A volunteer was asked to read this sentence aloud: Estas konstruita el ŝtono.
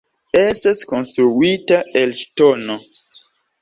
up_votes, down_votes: 2, 0